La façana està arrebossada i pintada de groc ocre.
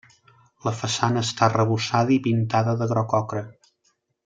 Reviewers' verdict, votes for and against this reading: accepted, 3, 0